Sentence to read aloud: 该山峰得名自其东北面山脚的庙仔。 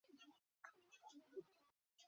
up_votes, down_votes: 0, 3